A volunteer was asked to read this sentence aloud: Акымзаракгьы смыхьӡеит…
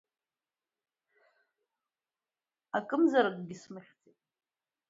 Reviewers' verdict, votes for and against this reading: rejected, 0, 2